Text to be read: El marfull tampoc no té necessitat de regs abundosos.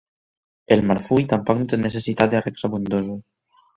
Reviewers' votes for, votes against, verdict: 1, 2, rejected